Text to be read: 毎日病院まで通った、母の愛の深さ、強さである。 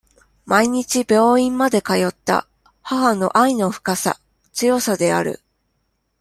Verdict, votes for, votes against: accepted, 2, 0